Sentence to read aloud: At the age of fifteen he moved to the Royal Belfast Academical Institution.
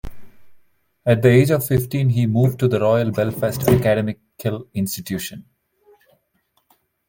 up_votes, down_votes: 0, 2